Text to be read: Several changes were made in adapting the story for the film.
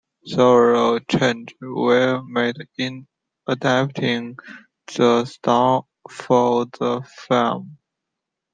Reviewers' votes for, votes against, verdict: 1, 2, rejected